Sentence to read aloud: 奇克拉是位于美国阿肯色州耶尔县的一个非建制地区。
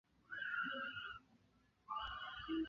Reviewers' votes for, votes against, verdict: 0, 3, rejected